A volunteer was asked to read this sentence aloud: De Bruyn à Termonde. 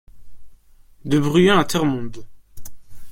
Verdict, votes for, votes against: rejected, 0, 2